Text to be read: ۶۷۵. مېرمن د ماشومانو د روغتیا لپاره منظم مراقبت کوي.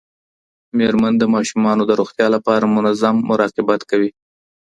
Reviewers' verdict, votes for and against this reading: rejected, 0, 2